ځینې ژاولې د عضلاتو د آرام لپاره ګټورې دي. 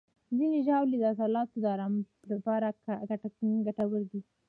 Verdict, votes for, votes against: rejected, 0, 2